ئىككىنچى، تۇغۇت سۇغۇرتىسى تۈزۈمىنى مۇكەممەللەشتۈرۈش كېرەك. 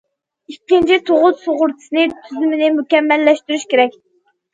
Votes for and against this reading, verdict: 2, 0, accepted